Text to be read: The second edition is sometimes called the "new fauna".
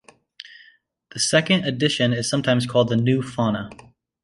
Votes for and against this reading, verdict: 2, 0, accepted